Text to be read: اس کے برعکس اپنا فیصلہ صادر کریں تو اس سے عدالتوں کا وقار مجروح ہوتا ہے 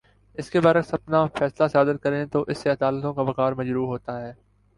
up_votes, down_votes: 6, 0